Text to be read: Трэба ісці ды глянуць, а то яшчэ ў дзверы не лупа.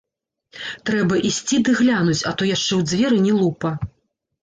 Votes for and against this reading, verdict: 0, 2, rejected